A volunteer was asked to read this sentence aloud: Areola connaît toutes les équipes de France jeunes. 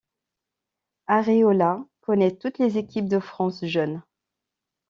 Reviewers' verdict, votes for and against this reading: accepted, 2, 0